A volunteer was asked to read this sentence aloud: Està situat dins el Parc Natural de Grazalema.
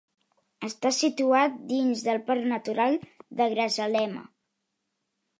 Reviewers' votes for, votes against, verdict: 1, 2, rejected